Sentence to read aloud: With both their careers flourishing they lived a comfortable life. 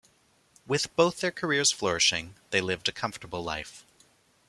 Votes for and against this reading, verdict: 2, 0, accepted